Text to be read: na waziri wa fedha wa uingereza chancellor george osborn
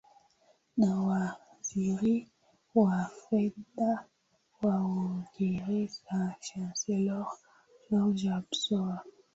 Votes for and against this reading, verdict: 0, 2, rejected